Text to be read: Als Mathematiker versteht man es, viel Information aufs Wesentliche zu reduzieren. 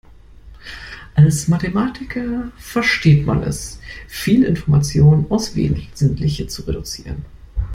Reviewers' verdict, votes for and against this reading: accepted, 2, 1